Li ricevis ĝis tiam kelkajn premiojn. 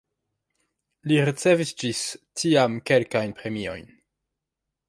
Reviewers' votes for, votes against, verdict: 2, 0, accepted